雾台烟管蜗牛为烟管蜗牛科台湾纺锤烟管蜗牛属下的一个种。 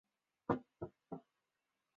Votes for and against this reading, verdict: 2, 6, rejected